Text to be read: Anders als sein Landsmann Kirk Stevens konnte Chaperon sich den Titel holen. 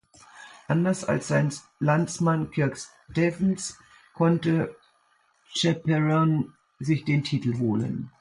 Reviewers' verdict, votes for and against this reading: rejected, 0, 2